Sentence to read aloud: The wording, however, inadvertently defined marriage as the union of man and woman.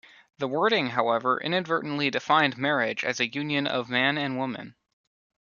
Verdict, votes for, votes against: accepted, 2, 1